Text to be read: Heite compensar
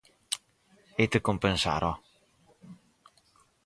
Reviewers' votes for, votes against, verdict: 0, 4, rejected